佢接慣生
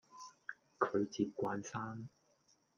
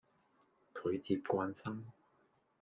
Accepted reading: second